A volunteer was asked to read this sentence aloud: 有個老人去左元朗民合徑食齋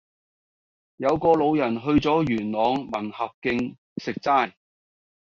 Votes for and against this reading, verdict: 2, 0, accepted